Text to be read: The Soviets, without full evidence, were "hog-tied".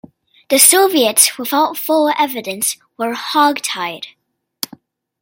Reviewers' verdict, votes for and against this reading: accepted, 2, 0